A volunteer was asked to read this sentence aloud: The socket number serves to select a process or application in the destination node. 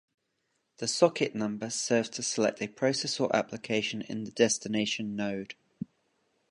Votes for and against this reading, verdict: 2, 0, accepted